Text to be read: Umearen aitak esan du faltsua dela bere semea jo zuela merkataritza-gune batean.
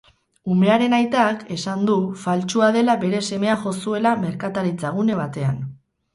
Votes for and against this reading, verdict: 4, 0, accepted